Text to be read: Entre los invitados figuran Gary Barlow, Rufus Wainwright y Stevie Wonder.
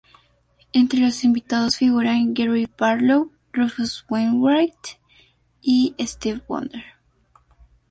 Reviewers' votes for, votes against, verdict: 2, 0, accepted